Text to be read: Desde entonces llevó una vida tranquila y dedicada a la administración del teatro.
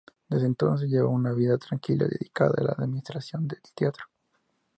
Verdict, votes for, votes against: accepted, 2, 0